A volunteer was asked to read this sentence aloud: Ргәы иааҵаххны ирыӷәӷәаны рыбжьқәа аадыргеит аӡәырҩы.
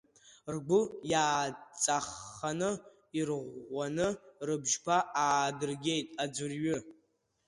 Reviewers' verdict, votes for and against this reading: rejected, 0, 2